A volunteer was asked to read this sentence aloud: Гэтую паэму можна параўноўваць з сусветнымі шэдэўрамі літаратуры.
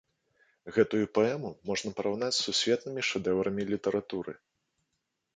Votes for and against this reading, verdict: 1, 2, rejected